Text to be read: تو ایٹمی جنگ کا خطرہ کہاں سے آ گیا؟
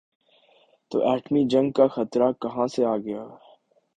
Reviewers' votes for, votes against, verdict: 2, 0, accepted